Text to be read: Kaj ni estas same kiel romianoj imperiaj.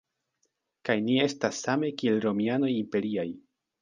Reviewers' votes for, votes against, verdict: 2, 0, accepted